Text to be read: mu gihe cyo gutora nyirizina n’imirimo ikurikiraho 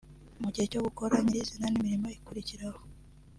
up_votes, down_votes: 1, 2